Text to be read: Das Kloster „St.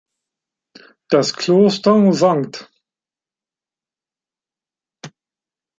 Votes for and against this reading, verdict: 0, 2, rejected